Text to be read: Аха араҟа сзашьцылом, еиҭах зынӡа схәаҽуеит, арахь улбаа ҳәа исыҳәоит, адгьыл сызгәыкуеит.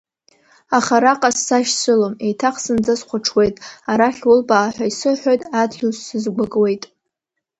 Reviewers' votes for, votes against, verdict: 2, 0, accepted